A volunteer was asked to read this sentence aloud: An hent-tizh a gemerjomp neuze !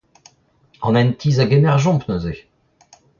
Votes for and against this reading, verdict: 0, 2, rejected